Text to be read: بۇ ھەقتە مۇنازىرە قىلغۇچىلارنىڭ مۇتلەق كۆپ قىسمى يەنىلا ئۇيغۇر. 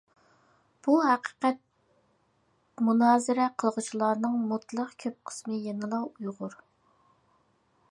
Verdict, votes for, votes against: rejected, 0, 2